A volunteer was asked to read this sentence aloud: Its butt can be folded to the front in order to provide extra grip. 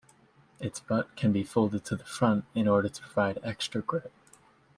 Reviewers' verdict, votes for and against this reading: rejected, 1, 2